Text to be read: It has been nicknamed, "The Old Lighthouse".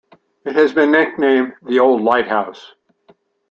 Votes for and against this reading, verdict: 2, 0, accepted